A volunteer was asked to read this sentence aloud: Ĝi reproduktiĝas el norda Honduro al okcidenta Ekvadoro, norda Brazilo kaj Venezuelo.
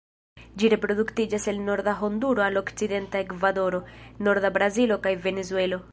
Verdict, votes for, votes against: accepted, 2, 0